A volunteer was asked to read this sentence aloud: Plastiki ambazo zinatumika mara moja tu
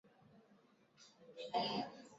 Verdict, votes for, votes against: rejected, 1, 2